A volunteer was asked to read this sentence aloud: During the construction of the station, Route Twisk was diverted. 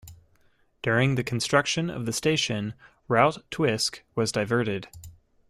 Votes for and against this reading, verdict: 2, 0, accepted